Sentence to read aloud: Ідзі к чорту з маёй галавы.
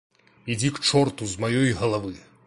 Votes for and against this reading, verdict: 2, 0, accepted